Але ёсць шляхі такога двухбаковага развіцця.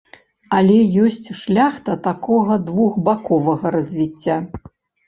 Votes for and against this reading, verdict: 0, 2, rejected